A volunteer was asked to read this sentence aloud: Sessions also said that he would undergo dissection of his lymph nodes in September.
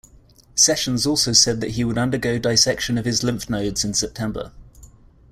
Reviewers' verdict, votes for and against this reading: rejected, 1, 2